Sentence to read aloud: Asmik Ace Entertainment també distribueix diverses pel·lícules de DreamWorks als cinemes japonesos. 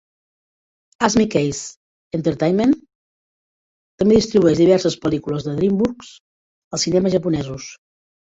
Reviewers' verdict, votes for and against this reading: accepted, 2, 0